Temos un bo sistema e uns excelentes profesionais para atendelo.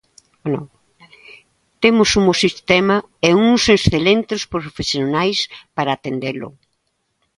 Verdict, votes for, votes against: rejected, 0, 2